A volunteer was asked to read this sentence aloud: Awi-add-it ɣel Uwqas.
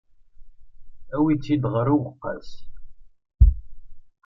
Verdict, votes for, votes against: rejected, 0, 2